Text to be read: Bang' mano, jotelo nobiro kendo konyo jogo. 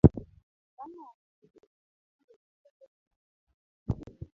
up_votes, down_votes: 0, 2